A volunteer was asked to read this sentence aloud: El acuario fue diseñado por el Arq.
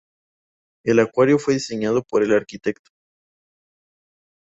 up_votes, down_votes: 2, 0